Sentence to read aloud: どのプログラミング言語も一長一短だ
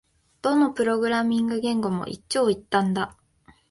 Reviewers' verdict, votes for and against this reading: accepted, 2, 0